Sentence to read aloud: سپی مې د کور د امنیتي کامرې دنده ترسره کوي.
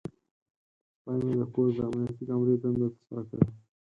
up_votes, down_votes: 4, 2